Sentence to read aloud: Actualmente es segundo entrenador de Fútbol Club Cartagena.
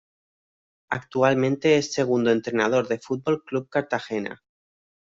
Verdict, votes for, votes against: rejected, 1, 2